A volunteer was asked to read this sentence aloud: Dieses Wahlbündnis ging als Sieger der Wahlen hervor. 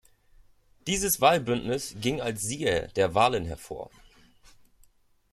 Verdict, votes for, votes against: accepted, 2, 0